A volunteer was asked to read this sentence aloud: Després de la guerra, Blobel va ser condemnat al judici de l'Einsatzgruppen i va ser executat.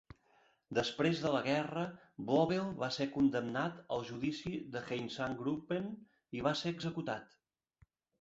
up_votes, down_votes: 1, 2